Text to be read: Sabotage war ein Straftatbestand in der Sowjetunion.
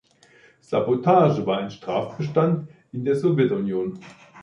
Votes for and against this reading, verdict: 0, 4, rejected